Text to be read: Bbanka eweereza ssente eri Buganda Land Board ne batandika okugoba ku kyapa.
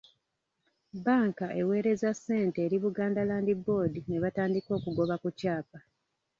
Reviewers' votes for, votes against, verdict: 1, 2, rejected